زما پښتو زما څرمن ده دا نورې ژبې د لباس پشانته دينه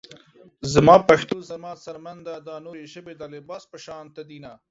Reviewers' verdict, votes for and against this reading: accepted, 2, 0